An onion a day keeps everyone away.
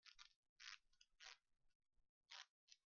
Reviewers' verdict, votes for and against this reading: rejected, 0, 5